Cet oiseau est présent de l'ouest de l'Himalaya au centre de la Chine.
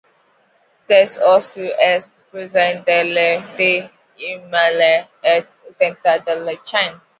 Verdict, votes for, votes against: accepted, 2, 1